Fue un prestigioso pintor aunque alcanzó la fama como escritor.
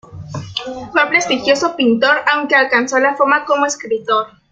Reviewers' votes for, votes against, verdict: 3, 4, rejected